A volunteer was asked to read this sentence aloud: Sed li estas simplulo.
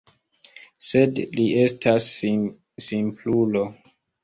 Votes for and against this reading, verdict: 1, 2, rejected